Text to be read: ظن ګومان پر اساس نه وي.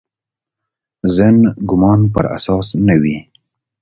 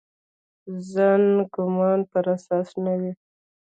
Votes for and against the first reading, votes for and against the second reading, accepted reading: 2, 0, 1, 2, first